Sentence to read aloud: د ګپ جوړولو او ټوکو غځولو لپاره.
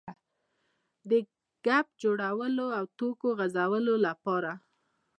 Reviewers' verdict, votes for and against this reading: accepted, 2, 0